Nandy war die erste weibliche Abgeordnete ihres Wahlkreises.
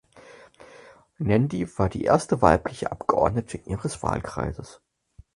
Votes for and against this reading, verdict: 4, 2, accepted